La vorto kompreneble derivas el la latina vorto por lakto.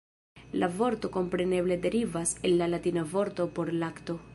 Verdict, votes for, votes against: accepted, 2, 0